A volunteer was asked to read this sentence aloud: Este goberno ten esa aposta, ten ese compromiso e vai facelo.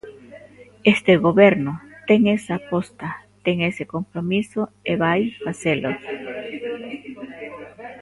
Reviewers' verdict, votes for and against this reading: rejected, 1, 2